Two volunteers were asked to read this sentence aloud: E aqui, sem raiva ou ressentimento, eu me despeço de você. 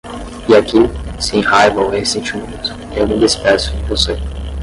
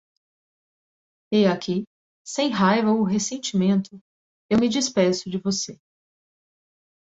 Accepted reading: second